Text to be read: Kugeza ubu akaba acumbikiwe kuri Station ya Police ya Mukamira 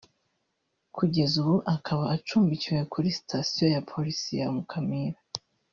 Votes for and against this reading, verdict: 2, 0, accepted